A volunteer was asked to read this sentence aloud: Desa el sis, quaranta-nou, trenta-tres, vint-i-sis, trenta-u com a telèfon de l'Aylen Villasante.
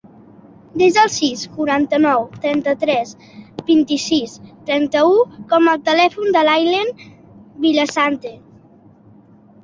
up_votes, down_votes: 2, 0